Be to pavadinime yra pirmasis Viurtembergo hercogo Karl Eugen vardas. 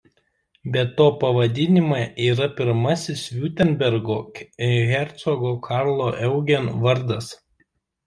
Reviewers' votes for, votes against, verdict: 0, 2, rejected